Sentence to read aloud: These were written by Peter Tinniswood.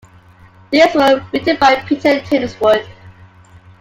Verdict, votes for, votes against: accepted, 2, 1